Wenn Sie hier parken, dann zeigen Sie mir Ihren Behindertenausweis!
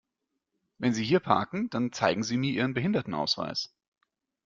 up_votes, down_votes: 2, 0